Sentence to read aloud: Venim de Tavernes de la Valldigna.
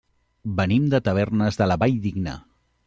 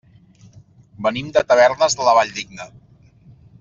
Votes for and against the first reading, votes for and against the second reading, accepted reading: 1, 2, 3, 0, second